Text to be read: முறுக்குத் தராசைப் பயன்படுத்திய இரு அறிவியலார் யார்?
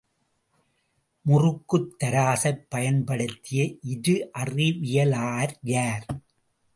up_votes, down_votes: 0, 2